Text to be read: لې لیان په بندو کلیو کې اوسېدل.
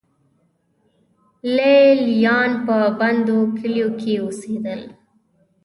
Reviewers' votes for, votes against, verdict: 2, 0, accepted